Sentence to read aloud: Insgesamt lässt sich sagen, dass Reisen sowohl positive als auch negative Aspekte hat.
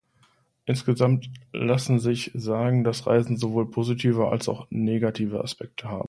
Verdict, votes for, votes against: rejected, 0, 2